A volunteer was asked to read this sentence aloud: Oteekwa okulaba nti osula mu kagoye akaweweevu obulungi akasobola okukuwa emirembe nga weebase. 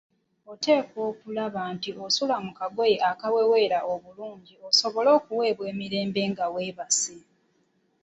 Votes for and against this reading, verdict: 1, 2, rejected